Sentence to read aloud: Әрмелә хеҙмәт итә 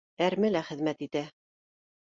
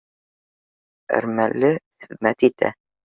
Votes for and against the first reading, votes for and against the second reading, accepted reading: 2, 0, 1, 2, first